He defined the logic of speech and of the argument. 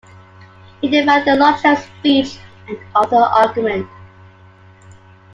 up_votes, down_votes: 2, 1